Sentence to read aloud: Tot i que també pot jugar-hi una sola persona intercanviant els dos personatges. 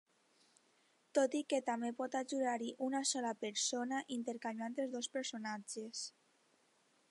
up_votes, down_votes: 1, 2